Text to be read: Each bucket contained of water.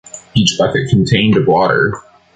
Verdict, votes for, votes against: accepted, 2, 0